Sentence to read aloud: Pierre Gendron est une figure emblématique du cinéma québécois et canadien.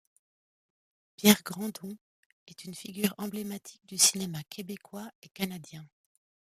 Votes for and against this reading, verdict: 1, 2, rejected